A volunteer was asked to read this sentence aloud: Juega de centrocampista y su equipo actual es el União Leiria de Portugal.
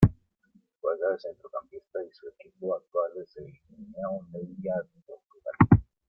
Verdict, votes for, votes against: rejected, 1, 2